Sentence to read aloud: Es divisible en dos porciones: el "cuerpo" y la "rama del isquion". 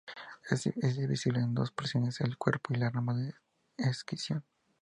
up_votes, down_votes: 0, 2